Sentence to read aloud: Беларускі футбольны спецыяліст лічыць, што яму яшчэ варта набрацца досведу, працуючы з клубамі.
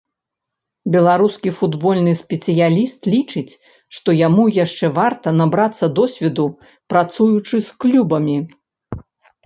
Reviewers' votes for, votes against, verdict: 0, 2, rejected